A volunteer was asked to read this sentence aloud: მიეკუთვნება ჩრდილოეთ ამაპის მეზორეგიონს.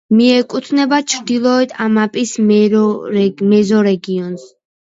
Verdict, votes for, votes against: rejected, 0, 2